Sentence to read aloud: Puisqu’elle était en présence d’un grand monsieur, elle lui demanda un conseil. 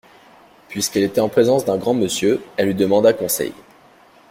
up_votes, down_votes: 0, 2